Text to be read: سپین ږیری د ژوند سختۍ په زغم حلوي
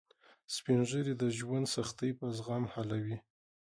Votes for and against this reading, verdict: 0, 2, rejected